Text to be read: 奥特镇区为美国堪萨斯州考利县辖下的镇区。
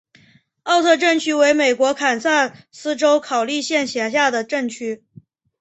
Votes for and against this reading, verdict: 0, 2, rejected